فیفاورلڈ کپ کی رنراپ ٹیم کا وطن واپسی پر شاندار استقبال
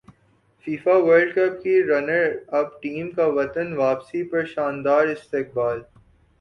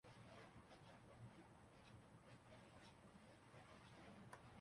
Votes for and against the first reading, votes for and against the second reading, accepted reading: 2, 0, 0, 2, first